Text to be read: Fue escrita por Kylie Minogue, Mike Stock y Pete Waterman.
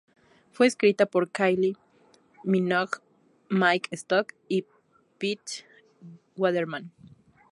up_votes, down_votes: 0, 2